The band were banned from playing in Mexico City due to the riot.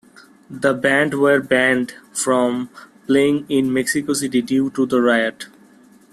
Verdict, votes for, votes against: accepted, 2, 0